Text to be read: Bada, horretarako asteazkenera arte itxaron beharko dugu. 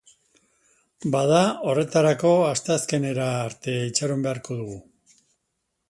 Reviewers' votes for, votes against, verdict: 2, 0, accepted